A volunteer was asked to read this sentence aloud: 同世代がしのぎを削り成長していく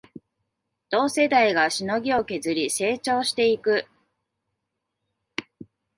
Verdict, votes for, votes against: accepted, 2, 1